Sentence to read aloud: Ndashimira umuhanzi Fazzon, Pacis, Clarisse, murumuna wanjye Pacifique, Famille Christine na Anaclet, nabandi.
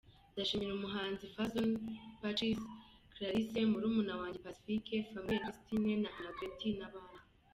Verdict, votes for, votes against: accepted, 2, 1